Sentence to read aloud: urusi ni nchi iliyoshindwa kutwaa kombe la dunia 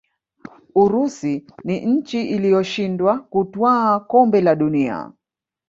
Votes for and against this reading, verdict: 2, 3, rejected